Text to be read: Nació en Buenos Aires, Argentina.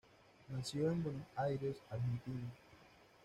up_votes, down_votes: 2, 1